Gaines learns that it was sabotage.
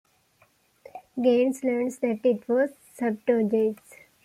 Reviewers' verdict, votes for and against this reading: rejected, 1, 2